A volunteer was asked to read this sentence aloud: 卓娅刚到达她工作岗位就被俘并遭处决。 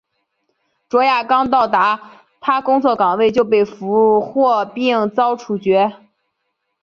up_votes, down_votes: 7, 0